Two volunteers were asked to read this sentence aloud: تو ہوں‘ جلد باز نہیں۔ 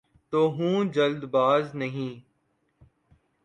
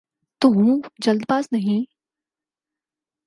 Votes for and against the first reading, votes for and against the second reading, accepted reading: 0, 2, 4, 0, second